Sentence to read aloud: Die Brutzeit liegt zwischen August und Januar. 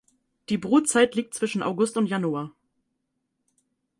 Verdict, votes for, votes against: accepted, 4, 0